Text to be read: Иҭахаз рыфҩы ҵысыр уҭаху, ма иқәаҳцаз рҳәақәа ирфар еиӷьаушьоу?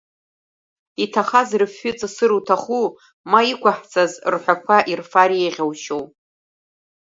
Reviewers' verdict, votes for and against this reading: rejected, 1, 2